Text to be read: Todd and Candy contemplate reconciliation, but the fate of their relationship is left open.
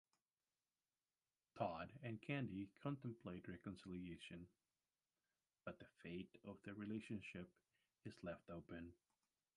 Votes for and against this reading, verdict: 1, 2, rejected